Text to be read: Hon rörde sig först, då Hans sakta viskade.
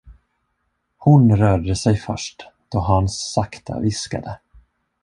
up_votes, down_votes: 1, 2